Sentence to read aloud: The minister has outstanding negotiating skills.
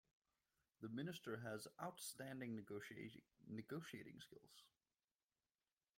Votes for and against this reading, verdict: 0, 2, rejected